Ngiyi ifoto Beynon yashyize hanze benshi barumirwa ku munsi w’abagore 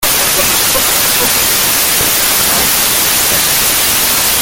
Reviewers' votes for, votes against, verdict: 0, 2, rejected